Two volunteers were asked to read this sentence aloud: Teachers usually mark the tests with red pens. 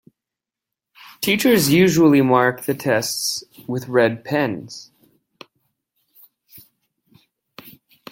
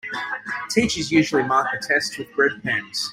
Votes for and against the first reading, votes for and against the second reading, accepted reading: 2, 0, 0, 2, first